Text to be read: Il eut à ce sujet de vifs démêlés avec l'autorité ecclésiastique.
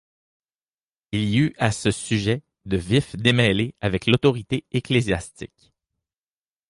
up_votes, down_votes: 2, 0